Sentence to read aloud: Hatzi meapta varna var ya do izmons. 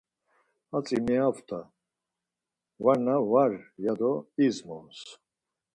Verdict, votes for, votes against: rejected, 2, 4